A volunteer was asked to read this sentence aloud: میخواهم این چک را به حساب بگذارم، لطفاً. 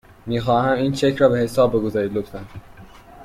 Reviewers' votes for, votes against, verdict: 1, 2, rejected